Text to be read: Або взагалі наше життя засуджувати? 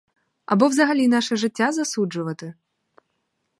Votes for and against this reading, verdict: 4, 0, accepted